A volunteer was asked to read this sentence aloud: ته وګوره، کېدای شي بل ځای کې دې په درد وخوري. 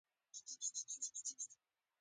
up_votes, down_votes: 0, 2